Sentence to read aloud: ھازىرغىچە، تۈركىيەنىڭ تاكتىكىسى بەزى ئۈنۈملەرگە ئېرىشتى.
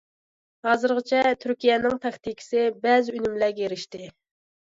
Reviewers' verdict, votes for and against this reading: accepted, 2, 1